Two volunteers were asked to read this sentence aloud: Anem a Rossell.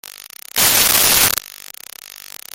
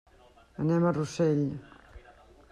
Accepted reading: second